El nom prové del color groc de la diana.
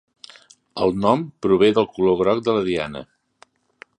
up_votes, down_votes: 2, 0